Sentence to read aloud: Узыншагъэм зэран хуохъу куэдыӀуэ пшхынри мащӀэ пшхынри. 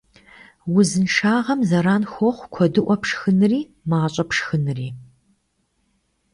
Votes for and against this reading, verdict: 2, 0, accepted